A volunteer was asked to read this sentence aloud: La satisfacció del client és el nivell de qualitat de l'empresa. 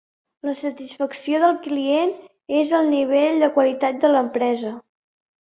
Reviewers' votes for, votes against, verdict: 4, 0, accepted